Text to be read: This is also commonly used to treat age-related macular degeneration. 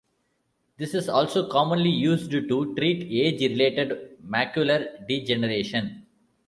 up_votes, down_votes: 0, 2